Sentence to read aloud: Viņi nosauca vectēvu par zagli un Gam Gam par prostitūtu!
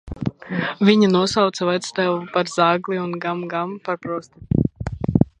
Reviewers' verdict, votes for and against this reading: rejected, 0, 2